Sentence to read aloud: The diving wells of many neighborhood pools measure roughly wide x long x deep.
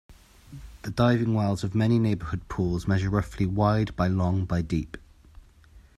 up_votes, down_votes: 0, 2